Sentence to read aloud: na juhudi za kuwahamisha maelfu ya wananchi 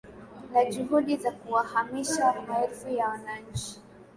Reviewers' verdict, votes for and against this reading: accepted, 2, 1